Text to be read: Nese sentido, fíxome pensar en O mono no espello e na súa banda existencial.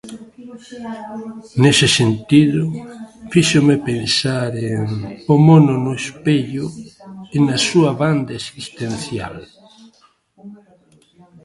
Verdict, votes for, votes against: accepted, 2, 1